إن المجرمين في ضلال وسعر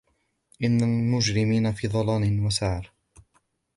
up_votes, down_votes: 2, 1